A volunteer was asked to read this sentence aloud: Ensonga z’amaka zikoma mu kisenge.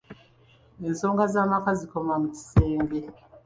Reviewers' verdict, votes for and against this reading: accepted, 2, 1